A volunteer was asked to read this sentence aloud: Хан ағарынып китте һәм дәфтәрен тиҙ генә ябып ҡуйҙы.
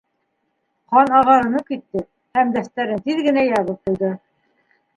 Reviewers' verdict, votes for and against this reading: rejected, 1, 2